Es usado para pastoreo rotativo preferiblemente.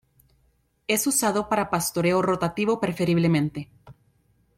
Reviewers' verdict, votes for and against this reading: accepted, 2, 0